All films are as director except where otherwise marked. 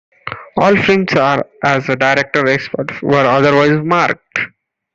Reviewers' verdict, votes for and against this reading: accepted, 2, 1